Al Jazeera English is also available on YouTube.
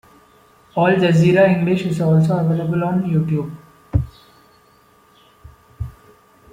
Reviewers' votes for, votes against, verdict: 2, 0, accepted